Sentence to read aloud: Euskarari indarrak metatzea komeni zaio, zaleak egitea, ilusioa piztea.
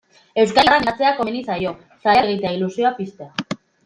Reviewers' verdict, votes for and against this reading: rejected, 0, 2